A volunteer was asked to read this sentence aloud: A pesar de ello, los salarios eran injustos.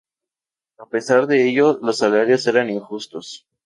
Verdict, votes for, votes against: accepted, 2, 0